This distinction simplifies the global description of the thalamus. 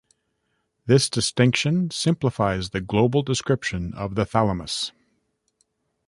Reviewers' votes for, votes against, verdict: 2, 0, accepted